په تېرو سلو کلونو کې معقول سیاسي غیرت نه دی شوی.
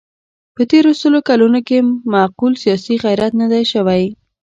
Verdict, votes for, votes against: accepted, 2, 1